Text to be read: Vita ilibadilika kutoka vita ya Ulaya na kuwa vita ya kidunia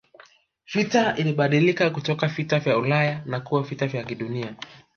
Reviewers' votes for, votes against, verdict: 1, 2, rejected